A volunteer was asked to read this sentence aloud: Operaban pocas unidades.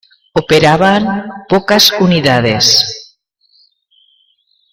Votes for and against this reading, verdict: 2, 1, accepted